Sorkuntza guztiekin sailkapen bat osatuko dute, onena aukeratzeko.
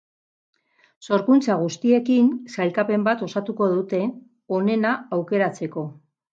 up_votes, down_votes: 6, 2